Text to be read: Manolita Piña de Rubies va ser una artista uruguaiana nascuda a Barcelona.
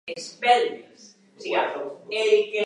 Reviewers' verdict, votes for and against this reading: rejected, 0, 2